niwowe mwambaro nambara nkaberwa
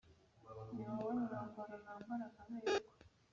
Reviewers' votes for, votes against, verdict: 1, 2, rejected